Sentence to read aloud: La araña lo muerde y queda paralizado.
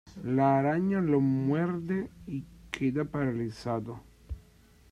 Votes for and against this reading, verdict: 2, 0, accepted